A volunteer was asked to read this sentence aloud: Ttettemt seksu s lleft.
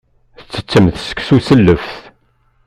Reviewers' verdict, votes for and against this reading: accepted, 2, 1